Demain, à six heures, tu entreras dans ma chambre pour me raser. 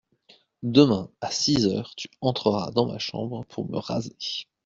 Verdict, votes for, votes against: accepted, 2, 0